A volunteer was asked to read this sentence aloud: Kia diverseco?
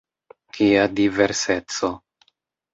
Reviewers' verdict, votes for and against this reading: accepted, 2, 0